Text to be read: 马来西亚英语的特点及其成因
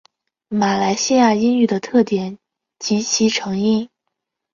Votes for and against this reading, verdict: 5, 0, accepted